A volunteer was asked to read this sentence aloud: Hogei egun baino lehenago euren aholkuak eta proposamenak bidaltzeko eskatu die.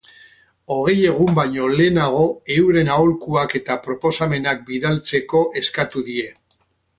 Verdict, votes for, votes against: accepted, 4, 0